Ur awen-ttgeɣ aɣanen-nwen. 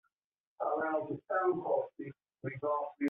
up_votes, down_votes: 0, 2